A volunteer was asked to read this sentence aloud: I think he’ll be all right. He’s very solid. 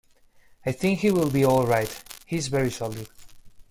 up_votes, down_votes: 1, 2